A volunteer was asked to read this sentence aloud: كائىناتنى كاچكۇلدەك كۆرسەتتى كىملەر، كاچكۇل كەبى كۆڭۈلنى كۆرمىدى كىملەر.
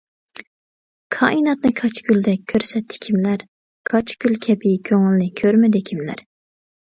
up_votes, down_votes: 2, 1